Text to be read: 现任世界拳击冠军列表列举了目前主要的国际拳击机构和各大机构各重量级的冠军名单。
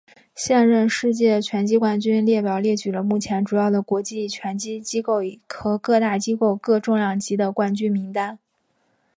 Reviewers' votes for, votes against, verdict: 4, 2, accepted